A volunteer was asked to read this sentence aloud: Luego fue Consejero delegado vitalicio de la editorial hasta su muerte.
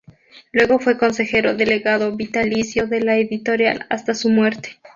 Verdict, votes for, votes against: accepted, 4, 0